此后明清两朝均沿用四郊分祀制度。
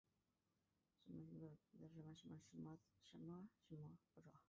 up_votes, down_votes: 0, 2